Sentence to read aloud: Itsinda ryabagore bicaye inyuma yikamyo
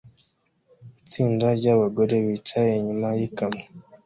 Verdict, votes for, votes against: accepted, 2, 0